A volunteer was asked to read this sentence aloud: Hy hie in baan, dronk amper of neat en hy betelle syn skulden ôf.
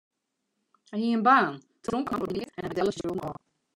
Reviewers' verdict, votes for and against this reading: rejected, 0, 2